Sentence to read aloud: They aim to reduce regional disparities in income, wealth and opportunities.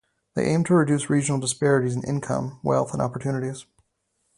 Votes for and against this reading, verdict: 4, 0, accepted